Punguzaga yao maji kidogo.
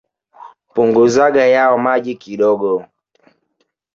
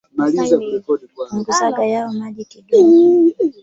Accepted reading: first